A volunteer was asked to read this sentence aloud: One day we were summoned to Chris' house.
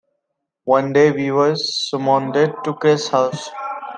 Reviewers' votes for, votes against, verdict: 0, 2, rejected